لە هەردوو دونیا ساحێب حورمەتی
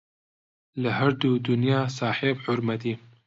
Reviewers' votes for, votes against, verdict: 2, 0, accepted